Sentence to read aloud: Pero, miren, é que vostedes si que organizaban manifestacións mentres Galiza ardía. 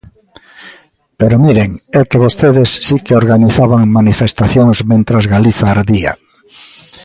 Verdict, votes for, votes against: rejected, 1, 2